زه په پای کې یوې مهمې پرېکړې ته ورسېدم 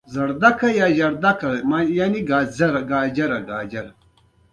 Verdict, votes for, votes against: rejected, 0, 2